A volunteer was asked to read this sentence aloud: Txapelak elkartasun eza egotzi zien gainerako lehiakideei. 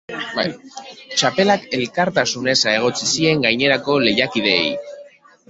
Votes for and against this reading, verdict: 1, 2, rejected